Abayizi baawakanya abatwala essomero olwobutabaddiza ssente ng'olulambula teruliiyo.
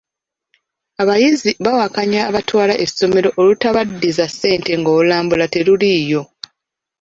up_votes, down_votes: 0, 2